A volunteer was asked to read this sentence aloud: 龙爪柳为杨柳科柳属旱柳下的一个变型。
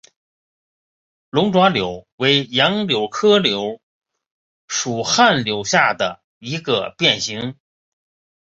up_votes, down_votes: 3, 0